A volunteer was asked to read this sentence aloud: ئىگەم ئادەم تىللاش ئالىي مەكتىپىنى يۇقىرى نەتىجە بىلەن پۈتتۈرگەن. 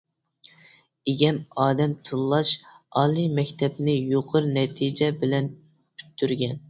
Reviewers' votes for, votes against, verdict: 0, 2, rejected